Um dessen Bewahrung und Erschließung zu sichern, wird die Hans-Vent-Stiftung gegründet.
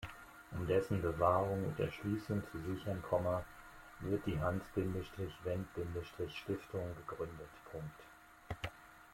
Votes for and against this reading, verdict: 0, 2, rejected